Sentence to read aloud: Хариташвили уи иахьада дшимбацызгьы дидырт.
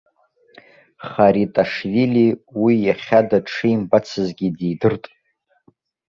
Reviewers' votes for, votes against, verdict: 2, 0, accepted